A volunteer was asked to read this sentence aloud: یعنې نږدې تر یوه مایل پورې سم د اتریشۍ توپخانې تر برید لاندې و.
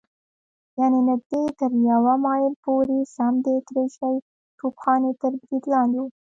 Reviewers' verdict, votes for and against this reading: rejected, 0, 2